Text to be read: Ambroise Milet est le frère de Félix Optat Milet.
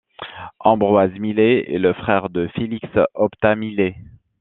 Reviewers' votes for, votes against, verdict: 3, 0, accepted